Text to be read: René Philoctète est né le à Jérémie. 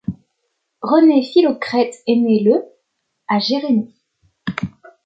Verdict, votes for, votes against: rejected, 0, 2